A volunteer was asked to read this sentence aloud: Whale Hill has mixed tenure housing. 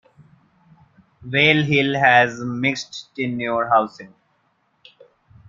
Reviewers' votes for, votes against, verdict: 2, 0, accepted